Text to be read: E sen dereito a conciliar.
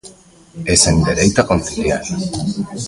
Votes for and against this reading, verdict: 0, 2, rejected